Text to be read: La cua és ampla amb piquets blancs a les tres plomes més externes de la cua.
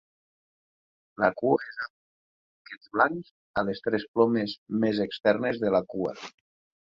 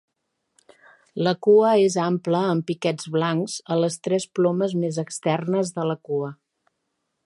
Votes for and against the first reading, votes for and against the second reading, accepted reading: 0, 2, 3, 0, second